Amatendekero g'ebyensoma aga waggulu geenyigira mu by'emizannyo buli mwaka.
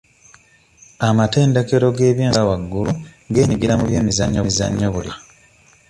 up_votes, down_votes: 1, 2